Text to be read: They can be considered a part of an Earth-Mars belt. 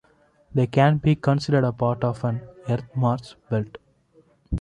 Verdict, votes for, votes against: accepted, 2, 1